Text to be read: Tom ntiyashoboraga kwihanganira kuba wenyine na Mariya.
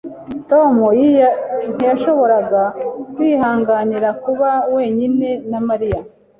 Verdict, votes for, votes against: rejected, 1, 2